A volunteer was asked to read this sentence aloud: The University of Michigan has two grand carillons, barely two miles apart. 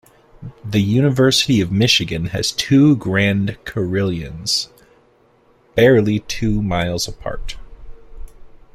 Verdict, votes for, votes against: rejected, 0, 2